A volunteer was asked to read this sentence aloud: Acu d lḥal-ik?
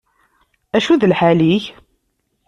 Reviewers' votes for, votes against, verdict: 3, 0, accepted